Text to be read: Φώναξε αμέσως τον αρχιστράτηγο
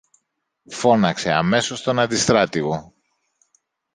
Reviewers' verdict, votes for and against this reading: rejected, 0, 2